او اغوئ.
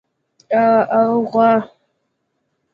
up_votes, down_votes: 1, 2